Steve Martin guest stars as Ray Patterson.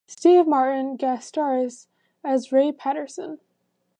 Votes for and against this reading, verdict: 0, 2, rejected